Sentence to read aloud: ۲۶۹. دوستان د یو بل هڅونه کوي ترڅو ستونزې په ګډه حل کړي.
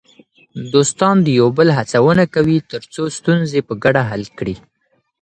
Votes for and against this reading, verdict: 0, 2, rejected